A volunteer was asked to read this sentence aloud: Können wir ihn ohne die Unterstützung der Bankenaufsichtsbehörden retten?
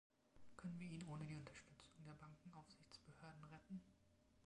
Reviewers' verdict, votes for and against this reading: accepted, 2, 0